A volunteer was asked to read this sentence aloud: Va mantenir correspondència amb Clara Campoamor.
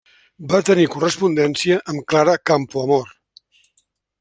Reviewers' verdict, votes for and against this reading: rejected, 0, 2